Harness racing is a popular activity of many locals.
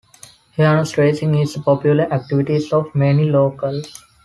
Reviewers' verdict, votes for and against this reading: rejected, 1, 2